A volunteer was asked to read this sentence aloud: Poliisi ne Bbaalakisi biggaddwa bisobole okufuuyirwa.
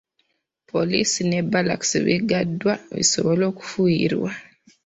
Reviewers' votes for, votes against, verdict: 2, 1, accepted